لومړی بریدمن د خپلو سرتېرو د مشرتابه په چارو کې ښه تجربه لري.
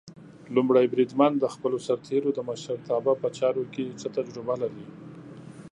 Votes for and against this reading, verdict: 1, 2, rejected